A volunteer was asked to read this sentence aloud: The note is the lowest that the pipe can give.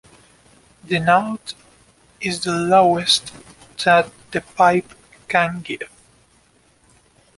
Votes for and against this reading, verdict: 2, 0, accepted